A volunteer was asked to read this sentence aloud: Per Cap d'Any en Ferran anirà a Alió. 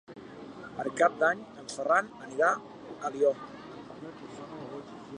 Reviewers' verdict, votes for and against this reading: accepted, 2, 0